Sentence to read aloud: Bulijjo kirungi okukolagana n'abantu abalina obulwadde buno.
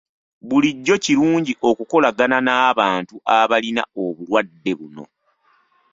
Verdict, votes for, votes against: rejected, 0, 2